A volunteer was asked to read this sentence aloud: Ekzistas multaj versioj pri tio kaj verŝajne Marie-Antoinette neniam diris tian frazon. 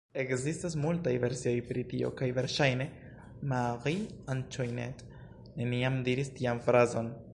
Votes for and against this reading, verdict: 1, 2, rejected